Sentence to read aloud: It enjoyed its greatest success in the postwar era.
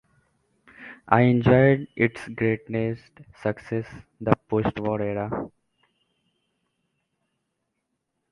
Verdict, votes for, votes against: rejected, 0, 2